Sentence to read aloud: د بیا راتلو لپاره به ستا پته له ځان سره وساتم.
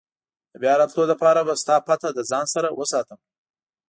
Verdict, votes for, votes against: accepted, 2, 0